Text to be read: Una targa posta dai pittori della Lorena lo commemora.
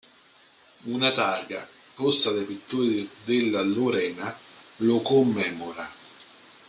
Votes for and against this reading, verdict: 1, 2, rejected